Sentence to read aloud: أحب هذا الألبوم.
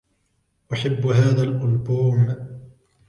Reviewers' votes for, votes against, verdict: 2, 0, accepted